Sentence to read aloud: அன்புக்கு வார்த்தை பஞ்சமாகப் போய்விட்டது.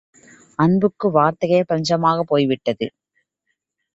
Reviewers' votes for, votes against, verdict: 0, 2, rejected